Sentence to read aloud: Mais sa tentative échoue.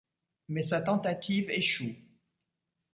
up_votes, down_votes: 2, 0